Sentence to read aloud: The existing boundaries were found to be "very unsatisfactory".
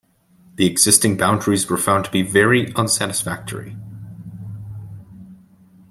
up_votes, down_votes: 2, 0